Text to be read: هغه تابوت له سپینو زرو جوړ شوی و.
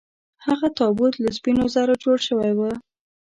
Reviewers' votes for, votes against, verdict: 2, 0, accepted